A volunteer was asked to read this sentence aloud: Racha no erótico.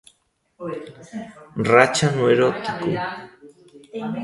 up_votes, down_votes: 2, 0